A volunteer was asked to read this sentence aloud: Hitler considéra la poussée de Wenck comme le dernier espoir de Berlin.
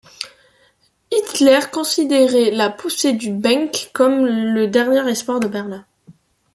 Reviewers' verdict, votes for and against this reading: rejected, 0, 2